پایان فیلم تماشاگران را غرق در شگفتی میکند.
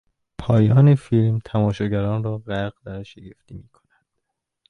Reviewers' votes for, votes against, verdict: 1, 2, rejected